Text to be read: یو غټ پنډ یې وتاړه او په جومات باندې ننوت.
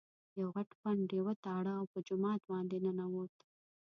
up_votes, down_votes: 1, 2